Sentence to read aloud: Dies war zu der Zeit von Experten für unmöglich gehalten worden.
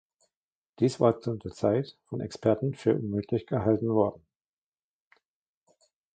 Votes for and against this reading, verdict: 1, 2, rejected